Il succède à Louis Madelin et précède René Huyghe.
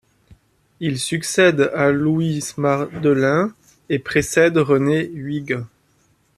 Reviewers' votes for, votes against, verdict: 1, 2, rejected